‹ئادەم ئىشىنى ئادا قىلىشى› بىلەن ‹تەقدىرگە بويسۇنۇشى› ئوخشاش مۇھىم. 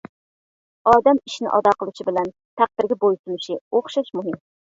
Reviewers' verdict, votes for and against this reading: rejected, 0, 2